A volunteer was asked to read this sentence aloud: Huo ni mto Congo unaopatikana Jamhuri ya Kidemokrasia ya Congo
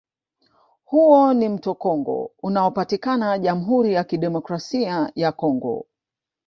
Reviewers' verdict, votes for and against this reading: accepted, 2, 0